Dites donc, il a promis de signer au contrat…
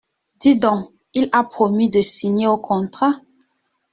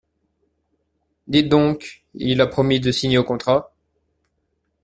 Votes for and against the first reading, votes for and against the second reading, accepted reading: 1, 2, 2, 0, second